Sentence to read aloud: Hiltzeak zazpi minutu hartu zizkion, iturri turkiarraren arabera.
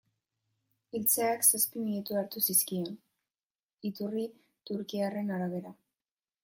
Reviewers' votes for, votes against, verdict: 0, 2, rejected